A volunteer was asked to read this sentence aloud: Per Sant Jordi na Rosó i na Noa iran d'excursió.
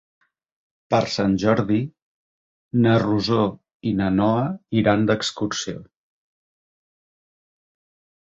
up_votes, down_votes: 3, 0